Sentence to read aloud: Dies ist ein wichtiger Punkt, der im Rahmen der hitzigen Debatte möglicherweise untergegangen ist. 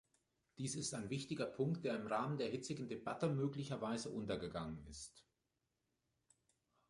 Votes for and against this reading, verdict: 2, 0, accepted